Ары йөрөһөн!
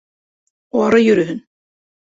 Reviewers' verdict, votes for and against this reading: accepted, 2, 0